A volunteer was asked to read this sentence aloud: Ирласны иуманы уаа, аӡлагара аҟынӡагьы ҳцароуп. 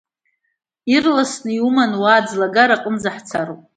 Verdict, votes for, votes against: accepted, 2, 1